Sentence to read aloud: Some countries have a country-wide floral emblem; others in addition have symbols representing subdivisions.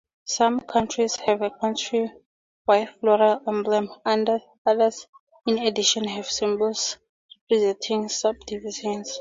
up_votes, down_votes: 0, 2